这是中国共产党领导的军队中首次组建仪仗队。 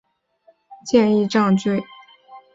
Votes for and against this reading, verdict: 0, 3, rejected